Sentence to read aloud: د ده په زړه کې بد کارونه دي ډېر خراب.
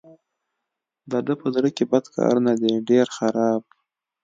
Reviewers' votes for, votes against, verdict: 2, 1, accepted